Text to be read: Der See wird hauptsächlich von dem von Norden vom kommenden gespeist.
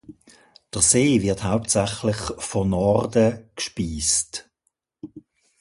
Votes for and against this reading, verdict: 0, 2, rejected